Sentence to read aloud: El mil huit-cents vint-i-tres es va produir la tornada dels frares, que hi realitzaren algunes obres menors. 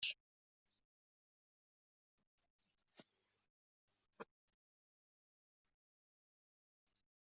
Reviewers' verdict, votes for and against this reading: rejected, 0, 2